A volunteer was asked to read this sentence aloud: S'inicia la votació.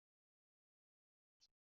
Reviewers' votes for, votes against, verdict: 0, 2, rejected